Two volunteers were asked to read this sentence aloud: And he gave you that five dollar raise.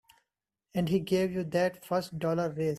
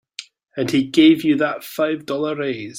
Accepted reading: second